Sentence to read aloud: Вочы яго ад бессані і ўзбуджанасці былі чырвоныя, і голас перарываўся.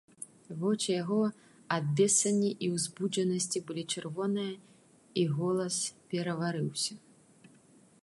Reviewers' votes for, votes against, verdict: 1, 2, rejected